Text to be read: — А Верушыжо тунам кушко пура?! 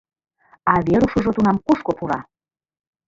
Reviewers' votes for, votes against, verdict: 1, 2, rejected